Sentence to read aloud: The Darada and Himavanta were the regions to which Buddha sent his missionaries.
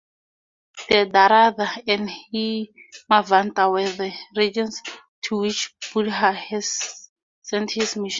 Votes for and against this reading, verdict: 2, 0, accepted